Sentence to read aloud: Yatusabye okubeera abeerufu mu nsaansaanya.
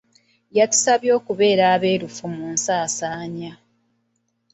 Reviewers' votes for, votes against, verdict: 2, 0, accepted